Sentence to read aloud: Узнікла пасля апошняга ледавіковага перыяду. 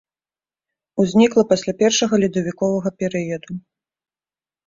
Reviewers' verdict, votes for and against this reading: rejected, 0, 2